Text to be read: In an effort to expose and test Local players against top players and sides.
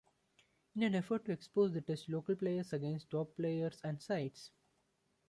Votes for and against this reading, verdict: 1, 2, rejected